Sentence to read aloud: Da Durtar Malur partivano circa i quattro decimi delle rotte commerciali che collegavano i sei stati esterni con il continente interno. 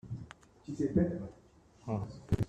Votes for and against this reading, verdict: 0, 2, rejected